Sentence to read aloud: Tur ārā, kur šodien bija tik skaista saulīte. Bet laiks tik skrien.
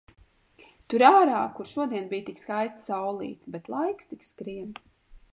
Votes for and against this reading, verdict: 1, 2, rejected